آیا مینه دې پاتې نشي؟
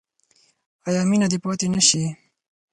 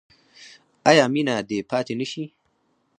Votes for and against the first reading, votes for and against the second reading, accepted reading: 4, 0, 2, 4, first